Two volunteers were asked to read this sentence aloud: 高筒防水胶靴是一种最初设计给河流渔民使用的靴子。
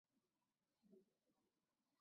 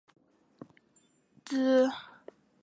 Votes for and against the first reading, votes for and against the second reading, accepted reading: 2, 1, 1, 3, first